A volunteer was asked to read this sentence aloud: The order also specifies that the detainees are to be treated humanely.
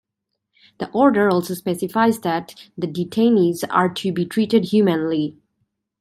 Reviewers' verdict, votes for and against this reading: rejected, 0, 2